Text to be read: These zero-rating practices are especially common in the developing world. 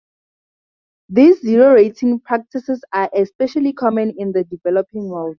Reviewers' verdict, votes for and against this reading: accepted, 4, 0